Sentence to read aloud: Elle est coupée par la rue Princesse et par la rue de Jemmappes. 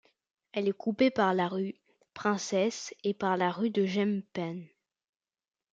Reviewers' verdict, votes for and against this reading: accepted, 2, 1